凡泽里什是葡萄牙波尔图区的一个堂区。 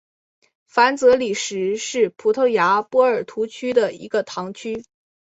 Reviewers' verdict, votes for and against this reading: accepted, 2, 0